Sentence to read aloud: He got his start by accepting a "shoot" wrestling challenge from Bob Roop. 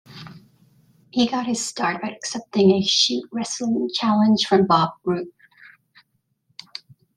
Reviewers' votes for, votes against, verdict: 2, 0, accepted